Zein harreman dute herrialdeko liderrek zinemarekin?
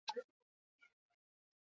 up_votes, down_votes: 0, 2